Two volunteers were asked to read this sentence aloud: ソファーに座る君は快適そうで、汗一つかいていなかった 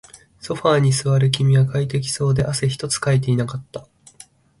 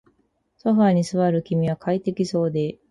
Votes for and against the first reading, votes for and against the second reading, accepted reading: 2, 0, 0, 4, first